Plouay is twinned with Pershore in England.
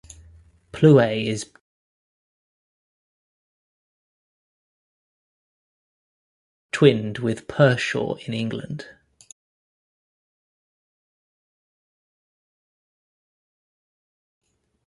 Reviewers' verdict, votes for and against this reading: rejected, 0, 2